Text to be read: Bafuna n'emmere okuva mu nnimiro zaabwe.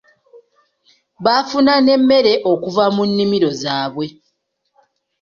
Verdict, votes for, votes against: accepted, 2, 0